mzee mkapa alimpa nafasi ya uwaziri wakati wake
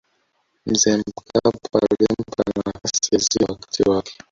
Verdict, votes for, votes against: rejected, 0, 2